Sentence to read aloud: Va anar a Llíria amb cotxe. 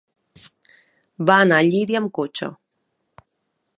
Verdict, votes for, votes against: accepted, 3, 0